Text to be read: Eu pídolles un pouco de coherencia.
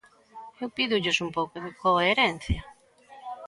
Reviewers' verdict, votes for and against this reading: accepted, 2, 0